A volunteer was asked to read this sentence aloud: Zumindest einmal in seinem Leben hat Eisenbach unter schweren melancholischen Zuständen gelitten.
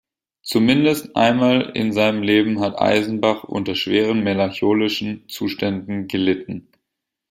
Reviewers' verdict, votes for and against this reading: rejected, 1, 2